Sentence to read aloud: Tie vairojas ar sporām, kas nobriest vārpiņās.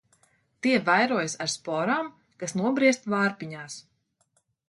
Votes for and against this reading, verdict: 2, 0, accepted